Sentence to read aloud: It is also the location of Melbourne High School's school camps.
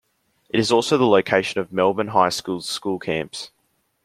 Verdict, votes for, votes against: accepted, 2, 1